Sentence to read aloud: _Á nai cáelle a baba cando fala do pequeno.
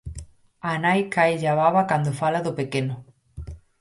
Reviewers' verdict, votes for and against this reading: accepted, 4, 0